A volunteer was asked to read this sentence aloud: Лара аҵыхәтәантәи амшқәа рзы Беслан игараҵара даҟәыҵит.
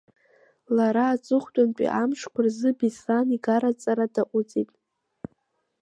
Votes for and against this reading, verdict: 2, 0, accepted